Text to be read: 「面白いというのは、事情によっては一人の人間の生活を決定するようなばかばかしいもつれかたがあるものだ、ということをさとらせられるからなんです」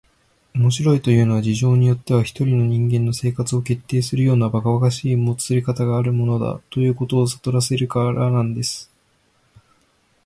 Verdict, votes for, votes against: accepted, 2, 0